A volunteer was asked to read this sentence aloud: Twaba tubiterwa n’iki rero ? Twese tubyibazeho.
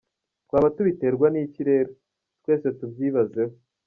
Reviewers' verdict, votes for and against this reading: accepted, 2, 0